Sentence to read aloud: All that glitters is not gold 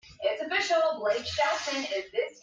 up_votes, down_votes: 0, 2